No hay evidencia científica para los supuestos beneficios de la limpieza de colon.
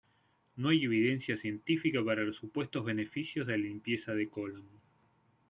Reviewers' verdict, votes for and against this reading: accepted, 2, 0